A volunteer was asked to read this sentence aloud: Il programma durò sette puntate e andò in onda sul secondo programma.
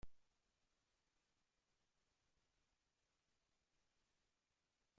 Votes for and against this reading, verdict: 0, 2, rejected